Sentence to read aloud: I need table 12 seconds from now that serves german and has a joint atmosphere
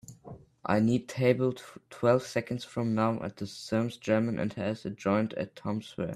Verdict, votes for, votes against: rejected, 0, 2